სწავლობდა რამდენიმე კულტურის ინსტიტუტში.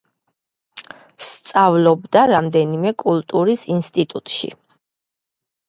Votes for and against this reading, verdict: 2, 0, accepted